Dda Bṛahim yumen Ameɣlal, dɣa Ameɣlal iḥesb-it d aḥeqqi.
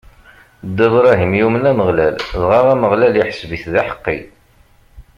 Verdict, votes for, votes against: accepted, 3, 0